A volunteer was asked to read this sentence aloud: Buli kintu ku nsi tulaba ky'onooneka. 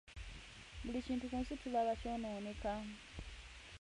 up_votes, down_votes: 0, 2